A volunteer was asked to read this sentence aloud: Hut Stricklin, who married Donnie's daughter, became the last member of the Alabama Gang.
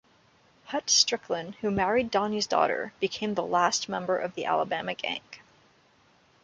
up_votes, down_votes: 2, 0